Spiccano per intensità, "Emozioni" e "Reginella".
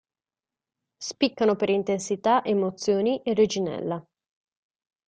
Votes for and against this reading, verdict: 4, 1, accepted